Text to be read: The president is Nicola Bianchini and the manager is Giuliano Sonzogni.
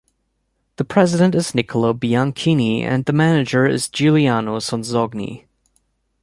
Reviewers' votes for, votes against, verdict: 2, 0, accepted